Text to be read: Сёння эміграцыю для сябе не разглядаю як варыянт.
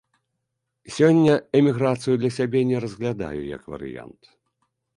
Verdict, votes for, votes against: accepted, 2, 0